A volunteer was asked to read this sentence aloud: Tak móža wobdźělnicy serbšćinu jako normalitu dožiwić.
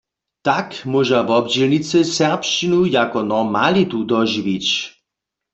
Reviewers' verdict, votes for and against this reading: accepted, 2, 0